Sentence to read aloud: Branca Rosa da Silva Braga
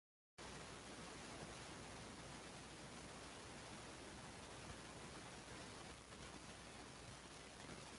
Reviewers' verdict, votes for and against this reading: rejected, 0, 2